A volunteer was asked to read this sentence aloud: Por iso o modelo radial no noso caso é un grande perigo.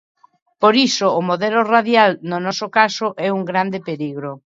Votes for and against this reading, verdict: 1, 2, rejected